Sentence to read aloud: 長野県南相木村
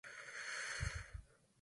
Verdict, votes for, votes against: rejected, 0, 2